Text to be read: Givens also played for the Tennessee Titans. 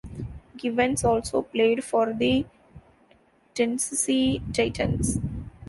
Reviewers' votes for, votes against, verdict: 1, 2, rejected